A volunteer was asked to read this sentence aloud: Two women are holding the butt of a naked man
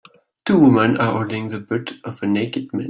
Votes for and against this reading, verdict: 2, 0, accepted